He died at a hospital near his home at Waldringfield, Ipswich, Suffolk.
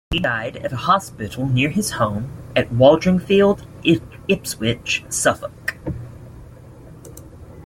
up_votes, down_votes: 1, 2